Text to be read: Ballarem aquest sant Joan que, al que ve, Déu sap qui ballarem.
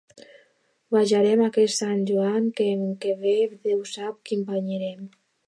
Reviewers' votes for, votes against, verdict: 1, 2, rejected